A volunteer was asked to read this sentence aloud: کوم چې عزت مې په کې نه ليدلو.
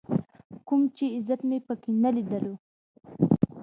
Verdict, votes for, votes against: accepted, 2, 0